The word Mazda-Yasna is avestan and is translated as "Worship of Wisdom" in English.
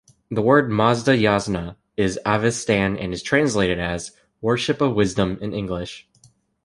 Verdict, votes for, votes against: accepted, 2, 0